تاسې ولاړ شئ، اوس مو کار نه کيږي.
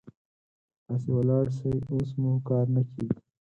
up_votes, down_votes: 4, 0